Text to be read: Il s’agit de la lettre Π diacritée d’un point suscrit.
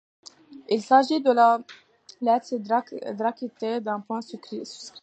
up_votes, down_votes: 1, 2